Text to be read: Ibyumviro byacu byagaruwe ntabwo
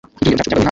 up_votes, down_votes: 0, 2